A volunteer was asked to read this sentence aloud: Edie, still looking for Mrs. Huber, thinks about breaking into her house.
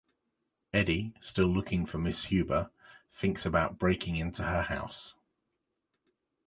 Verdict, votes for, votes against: rejected, 1, 2